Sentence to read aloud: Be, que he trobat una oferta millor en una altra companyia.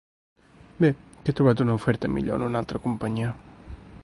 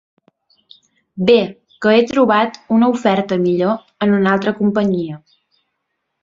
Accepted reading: second